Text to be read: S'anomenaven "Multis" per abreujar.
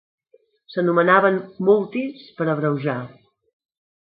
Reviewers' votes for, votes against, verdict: 2, 0, accepted